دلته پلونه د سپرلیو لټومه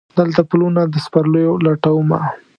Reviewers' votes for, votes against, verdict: 2, 0, accepted